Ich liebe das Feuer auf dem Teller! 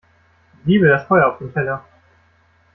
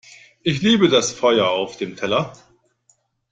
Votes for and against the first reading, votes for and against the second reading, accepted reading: 1, 2, 2, 0, second